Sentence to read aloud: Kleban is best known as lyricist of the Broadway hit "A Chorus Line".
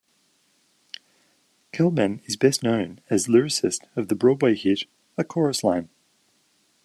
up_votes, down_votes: 0, 2